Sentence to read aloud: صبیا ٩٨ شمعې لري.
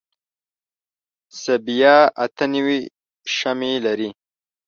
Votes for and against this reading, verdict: 0, 2, rejected